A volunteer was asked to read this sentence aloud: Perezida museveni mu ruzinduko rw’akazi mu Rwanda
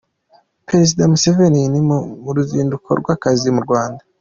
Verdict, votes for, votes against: accepted, 2, 0